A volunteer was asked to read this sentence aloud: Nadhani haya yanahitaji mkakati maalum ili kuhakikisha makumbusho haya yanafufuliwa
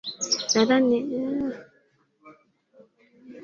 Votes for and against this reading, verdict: 2, 3, rejected